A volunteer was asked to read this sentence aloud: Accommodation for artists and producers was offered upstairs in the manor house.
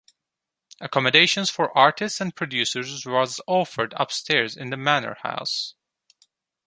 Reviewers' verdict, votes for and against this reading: accepted, 2, 1